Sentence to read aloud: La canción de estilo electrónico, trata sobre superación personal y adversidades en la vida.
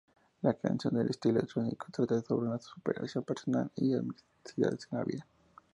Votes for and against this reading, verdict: 2, 0, accepted